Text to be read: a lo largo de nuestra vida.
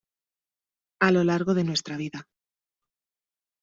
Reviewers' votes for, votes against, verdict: 2, 0, accepted